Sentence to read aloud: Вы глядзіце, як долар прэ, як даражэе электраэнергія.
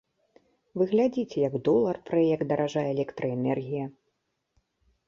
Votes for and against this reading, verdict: 1, 2, rejected